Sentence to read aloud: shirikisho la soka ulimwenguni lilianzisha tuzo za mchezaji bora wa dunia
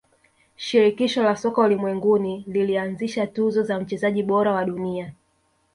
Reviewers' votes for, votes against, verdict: 2, 0, accepted